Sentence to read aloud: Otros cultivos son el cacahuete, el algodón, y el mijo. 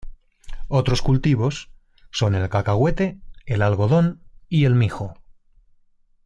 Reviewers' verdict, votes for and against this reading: accepted, 2, 0